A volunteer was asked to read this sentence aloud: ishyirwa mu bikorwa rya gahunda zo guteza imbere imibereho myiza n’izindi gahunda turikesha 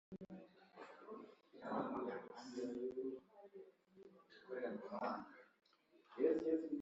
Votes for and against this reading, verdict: 0, 2, rejected